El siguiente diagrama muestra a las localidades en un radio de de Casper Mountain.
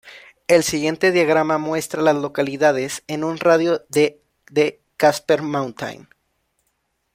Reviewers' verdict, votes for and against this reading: rejected, 1, 2